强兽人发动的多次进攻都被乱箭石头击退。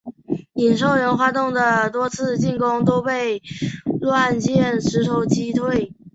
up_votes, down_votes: 0, 2